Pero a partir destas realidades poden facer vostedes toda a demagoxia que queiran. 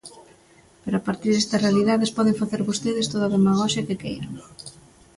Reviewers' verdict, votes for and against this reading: accepted, 2, 0